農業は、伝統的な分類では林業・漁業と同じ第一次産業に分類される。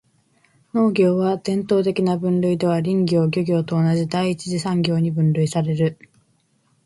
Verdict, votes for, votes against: accepted, 2, 0